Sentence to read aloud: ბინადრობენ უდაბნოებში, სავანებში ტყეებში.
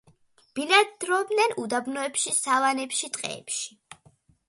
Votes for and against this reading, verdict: 2, 1, accepted